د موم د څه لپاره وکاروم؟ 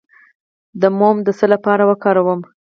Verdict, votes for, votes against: rejected, 2, 4